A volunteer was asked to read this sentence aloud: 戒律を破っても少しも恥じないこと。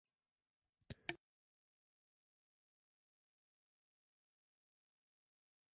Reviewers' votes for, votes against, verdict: 0, 2, rejected